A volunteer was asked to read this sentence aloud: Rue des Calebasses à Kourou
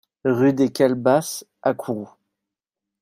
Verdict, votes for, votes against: accepted, 2, 0